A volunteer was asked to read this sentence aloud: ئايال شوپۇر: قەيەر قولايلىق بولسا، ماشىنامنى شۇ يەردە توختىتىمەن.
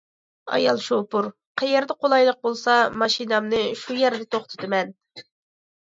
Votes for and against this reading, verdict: 0, 2, rejected